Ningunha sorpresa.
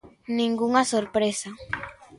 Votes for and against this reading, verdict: 2, 0, accepted